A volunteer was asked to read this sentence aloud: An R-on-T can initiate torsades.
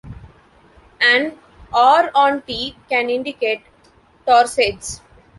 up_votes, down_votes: 0, 3